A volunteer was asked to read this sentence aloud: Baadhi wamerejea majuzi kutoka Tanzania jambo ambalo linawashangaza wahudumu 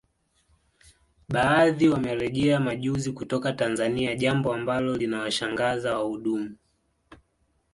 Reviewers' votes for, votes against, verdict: 1, 2, rejected